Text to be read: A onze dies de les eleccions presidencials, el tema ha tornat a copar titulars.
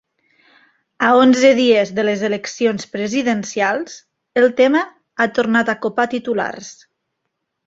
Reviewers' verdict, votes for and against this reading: accepted, 2, 0